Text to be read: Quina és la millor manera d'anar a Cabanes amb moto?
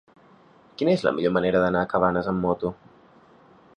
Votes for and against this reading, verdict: 3, 0, accepted